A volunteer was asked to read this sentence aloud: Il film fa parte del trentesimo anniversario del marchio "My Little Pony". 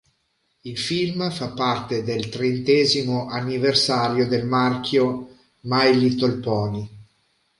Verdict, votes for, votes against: accepted, 2, 0